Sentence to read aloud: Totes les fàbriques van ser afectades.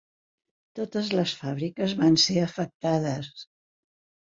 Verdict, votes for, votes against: accepted, 2, 0